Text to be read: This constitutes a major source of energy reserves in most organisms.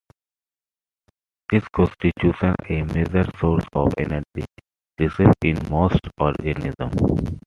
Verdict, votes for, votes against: accepted, 2, 1